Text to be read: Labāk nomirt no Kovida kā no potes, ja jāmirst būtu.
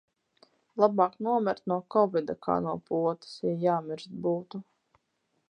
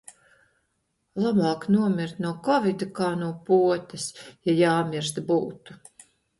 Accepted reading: second